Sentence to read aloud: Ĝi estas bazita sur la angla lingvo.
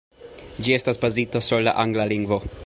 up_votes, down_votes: 2, 0